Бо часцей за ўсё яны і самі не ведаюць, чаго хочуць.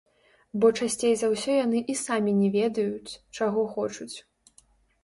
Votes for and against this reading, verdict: 0, 2, rejected